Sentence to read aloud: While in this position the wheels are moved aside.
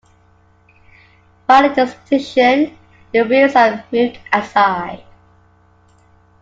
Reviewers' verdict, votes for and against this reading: accepted, 2, 0